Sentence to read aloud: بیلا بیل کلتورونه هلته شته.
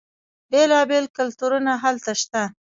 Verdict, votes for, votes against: accepted, 2, 1